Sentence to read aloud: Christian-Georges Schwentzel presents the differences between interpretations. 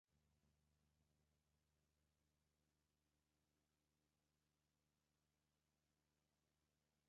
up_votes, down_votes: 0, 2